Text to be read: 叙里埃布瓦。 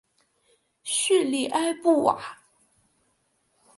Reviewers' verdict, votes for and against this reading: accepted, 2, 0